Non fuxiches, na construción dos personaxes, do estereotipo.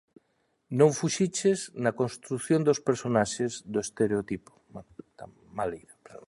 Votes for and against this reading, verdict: 1, 2, rejected